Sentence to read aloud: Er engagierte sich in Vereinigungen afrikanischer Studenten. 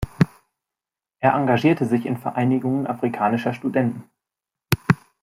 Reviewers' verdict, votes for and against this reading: accepted, 2, 0